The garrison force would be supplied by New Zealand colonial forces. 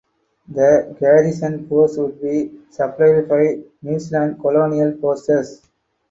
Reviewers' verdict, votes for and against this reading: rejected, 2, 2